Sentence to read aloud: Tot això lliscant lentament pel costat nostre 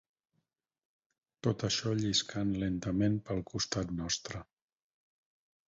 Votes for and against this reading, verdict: 4, 0, accepted